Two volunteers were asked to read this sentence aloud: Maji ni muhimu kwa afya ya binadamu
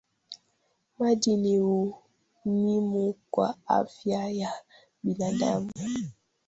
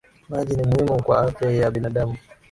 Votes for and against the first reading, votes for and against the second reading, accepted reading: 0, 2, 4, 0, second